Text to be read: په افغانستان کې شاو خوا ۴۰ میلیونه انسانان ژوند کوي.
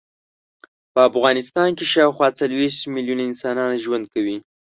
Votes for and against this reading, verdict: 0, 2, rejected